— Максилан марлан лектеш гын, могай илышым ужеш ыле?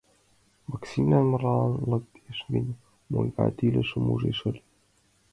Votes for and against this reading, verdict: 1, 2, rejected